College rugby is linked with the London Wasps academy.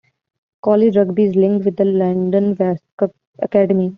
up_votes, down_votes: 1, 2